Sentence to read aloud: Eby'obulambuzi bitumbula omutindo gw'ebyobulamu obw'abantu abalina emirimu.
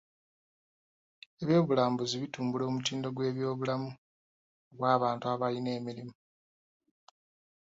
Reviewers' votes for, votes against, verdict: 1, 2, rejected